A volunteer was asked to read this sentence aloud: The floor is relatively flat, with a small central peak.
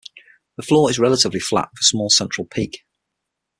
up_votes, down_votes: 6, 0